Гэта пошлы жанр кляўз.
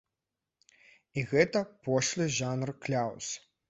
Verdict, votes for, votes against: rejected, 1, 2